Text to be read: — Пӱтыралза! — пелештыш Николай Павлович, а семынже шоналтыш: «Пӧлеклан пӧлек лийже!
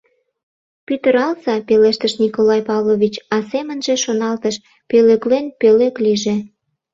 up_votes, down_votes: 0, 2